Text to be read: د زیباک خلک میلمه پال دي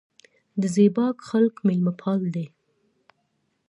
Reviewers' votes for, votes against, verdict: 2, 0, accepted